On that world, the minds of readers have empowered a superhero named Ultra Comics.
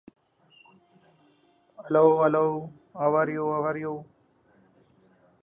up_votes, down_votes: 0, 2